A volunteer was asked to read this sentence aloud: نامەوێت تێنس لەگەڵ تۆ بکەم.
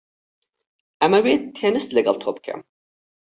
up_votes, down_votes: 0, 4